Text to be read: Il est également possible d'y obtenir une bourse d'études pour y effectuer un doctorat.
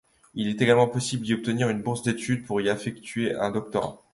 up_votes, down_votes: 0, 2